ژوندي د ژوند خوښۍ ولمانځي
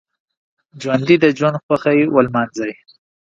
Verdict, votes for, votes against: accepted, 2, 0